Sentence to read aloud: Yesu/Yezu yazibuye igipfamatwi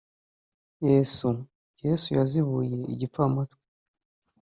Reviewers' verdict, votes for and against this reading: rejected, 1, 2